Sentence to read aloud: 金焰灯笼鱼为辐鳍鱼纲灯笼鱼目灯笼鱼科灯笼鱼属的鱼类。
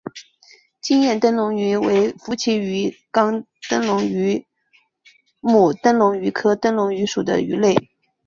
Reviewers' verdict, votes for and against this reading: accepted, 2, 1